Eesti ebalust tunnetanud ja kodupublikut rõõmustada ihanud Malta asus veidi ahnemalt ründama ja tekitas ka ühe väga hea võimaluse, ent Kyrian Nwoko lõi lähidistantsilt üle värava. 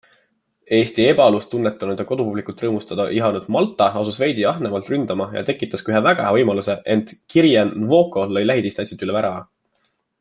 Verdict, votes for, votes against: accepted, 2, 0